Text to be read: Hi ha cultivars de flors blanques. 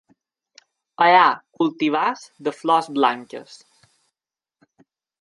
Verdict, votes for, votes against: accepted, 3, 0